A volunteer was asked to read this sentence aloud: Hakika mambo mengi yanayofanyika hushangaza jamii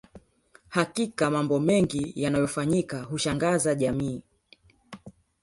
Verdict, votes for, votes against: rejected, 2, 3